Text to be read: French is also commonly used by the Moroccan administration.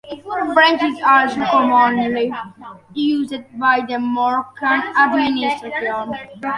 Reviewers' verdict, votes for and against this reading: rejected, 0, 2